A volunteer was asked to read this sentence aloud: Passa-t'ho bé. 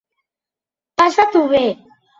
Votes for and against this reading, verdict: 4, 0, accepted